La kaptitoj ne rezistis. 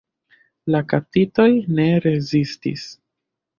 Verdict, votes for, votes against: accepted, 2, 0